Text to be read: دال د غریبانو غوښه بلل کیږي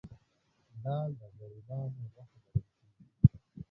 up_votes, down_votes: 1, 2